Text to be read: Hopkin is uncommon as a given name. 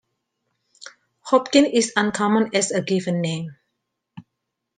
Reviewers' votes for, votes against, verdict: 2, 0, accepted